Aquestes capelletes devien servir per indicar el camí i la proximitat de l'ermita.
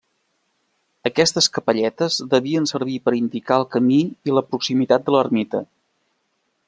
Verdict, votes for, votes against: accepted, 3, 0